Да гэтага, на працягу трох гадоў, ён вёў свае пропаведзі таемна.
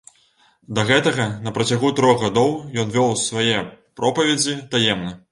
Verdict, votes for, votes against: accepted, 2, 0